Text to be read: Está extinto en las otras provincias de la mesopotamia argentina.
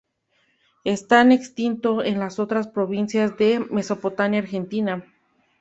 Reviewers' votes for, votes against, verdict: 2, 0, accepted